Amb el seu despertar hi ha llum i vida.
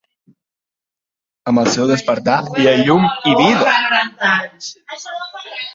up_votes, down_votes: 0, 2